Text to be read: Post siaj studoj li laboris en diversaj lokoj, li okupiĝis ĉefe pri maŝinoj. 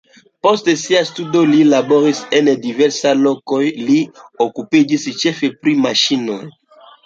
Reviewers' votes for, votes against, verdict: 2, 0, accepted